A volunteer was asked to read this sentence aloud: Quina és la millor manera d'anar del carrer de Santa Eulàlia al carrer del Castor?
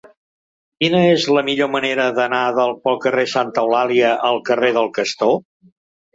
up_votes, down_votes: 1, 2